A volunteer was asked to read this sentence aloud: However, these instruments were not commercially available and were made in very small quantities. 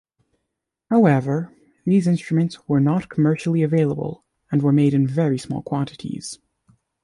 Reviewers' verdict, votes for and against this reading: accepted, 2, 0